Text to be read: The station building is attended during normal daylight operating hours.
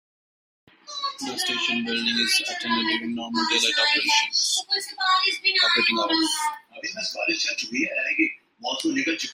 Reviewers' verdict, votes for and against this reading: rejected, 0, 2